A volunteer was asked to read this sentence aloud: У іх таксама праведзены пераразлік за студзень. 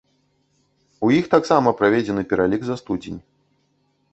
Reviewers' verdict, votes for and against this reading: rejected, 0, 2